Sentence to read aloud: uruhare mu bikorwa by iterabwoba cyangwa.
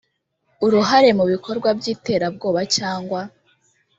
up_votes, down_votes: 2, 0